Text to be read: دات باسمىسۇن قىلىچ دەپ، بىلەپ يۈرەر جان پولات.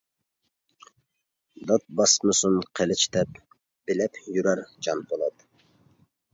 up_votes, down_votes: 2, 0